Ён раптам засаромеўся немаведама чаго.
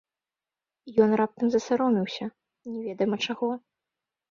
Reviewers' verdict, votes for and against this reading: rejected, 1, 2